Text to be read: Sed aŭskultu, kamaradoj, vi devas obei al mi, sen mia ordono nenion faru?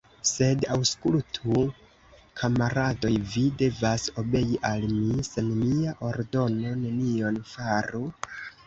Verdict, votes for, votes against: rejected, 0, 2